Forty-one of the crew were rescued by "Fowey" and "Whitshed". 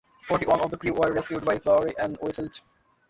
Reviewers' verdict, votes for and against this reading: rejected, 1, 2